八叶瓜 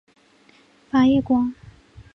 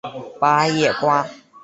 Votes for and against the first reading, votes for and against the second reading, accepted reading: 1, 2, 2, 1, second